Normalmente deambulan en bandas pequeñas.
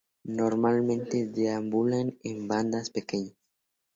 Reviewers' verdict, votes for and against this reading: accepted, 2, 0